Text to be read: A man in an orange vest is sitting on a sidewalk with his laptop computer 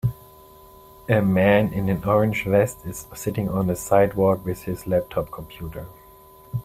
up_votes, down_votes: 2, 1